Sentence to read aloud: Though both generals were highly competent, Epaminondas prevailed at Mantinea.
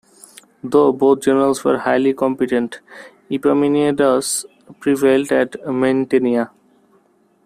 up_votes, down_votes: 1, 2